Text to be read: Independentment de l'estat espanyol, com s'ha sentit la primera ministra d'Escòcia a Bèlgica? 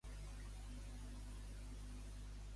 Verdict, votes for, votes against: rejected, 0, 2